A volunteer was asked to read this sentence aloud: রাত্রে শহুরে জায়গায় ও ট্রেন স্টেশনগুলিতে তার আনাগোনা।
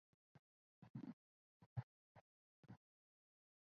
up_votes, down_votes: 0, 2